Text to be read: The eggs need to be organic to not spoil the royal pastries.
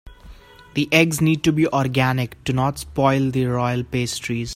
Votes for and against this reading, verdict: 2, 0, accepted